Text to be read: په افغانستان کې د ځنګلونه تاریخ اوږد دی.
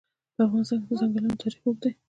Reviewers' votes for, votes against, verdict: 2, 0, accepted